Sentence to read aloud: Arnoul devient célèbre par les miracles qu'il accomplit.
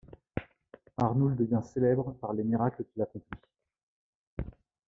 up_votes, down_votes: 2, 0